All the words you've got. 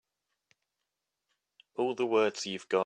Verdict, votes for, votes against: rejected, 1, 2